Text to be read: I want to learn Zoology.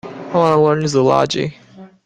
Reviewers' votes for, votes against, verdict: 1, 2, rejected